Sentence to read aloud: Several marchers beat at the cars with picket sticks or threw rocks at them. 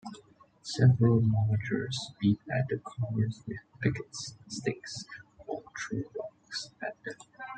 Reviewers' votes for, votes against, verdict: 1, 2, rejected